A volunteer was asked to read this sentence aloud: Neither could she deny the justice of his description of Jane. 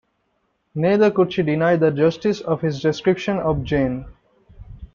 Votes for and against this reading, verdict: 2, 0, accepted